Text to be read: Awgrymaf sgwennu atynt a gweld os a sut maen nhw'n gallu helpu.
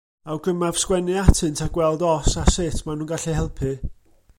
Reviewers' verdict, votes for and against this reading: accepted, 2, 0